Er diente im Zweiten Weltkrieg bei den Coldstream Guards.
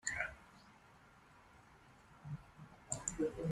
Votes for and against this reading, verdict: 0, 2, rejected